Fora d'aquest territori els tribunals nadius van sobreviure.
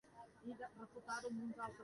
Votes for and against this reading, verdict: 0, 2, rejected